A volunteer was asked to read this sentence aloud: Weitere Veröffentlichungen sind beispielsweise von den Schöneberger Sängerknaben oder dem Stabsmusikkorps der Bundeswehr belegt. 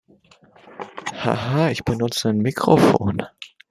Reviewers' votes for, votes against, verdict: 0, 2, rejected